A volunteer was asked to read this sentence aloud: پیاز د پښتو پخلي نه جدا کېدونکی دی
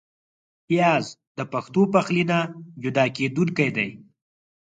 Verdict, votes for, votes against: accepted, 4, 0